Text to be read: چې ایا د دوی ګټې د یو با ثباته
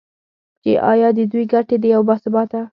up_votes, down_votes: 2, 0